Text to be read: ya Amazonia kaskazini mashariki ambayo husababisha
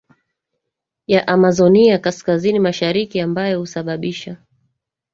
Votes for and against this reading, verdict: 1, 2, rejected